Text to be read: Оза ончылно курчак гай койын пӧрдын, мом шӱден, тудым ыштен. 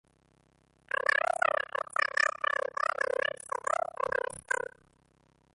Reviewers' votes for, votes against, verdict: 0, 2, rejected